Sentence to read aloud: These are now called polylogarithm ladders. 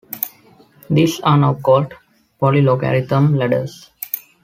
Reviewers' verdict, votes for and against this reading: accepted, 2, 0